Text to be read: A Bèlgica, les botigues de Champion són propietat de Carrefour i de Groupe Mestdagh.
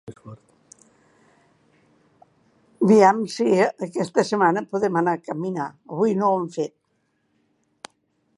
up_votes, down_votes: 0, 2